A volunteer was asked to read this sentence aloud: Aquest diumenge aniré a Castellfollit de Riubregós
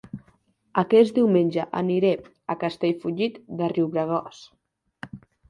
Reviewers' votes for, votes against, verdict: 2, 0, accepted